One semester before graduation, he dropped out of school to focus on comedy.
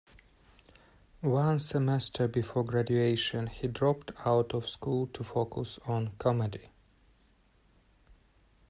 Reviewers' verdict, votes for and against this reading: accepted, 2, 0